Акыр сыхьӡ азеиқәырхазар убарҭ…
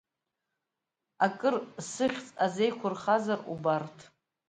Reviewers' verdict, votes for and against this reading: accepted, 2, 0